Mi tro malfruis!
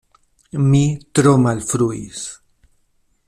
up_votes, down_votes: 2, 0